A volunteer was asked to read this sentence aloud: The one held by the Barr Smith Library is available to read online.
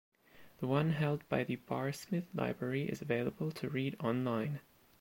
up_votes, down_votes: 3, 0